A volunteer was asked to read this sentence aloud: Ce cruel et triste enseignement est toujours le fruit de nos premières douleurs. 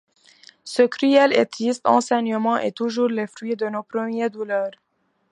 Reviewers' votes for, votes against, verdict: 2, 0, accepted